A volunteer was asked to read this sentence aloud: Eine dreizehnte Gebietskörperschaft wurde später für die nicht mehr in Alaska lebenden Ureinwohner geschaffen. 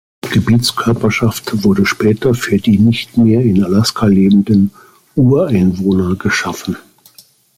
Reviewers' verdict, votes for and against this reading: rejected, 1, 2